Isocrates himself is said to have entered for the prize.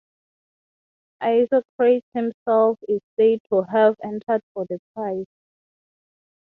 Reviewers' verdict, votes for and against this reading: rejected, 3, 3